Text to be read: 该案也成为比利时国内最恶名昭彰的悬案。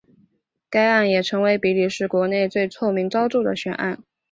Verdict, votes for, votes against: accepted, 3, 1